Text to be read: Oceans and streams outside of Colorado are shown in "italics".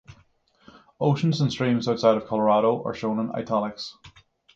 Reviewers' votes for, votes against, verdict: 6, 0, accepted